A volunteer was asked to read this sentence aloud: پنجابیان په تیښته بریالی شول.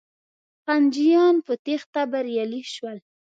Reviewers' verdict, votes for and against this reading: rejected, 1, 2